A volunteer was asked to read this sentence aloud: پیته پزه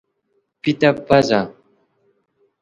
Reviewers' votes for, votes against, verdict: 3, 0, accepted